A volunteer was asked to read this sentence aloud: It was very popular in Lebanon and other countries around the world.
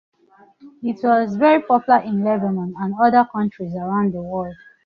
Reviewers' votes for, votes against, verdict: 2, 0, accepted